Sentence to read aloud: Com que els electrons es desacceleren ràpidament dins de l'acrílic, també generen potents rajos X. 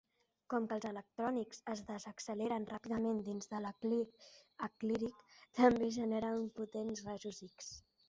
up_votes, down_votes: 1, 2